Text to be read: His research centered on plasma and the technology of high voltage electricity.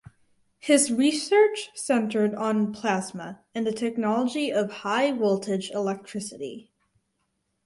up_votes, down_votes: 6, 0